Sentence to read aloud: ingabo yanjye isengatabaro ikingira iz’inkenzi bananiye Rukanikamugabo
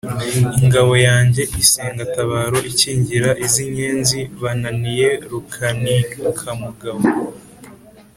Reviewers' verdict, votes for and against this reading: accepted, 2, 0